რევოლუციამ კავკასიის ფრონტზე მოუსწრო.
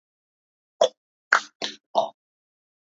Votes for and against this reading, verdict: 0, 2, rejected